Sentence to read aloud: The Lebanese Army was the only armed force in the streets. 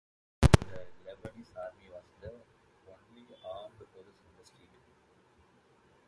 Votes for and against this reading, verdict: 0, 2, rejected